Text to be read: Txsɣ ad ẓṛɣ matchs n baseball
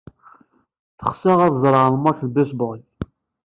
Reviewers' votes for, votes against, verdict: 1, 2, rejected